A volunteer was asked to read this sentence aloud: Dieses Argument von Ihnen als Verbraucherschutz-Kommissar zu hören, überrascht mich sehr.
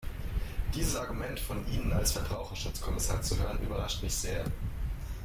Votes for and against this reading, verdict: 2, 1, accepted